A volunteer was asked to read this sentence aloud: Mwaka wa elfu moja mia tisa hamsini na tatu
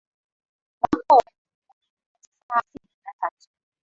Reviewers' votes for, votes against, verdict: 6, 34, rejected